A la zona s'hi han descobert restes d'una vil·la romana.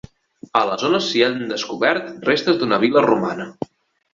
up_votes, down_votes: 2, 0